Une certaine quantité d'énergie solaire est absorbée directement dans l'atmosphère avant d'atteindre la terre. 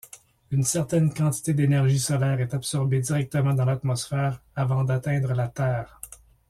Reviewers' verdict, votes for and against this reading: accepted, 2, 0